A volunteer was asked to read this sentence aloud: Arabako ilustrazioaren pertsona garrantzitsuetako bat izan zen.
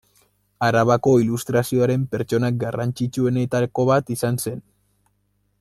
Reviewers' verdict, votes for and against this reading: rejected, 0, 2